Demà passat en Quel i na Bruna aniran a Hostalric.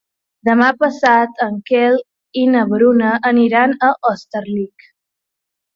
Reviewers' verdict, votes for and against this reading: rejected, 1, 3